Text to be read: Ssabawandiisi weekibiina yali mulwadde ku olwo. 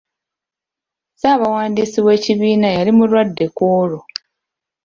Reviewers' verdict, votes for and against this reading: accepted, 2, 0